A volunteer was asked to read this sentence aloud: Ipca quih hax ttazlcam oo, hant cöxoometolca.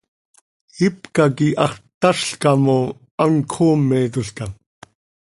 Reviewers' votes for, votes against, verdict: 2, 0, accepted